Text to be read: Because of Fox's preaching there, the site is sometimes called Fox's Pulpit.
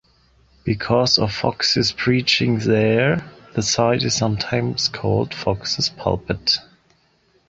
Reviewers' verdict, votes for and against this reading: accepted, 2, 0